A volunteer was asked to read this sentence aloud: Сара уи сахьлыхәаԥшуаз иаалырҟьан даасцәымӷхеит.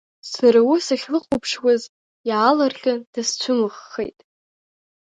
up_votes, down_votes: 3, 1